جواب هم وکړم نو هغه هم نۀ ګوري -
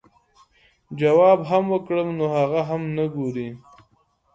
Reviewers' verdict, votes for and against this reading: accepted, 2, 0